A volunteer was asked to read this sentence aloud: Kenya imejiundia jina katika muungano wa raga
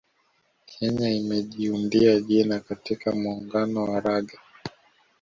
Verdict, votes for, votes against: rejected, 1, 2